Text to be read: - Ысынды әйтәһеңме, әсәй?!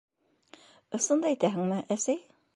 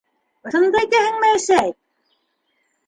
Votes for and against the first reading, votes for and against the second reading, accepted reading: 2, 0, 0, 2, first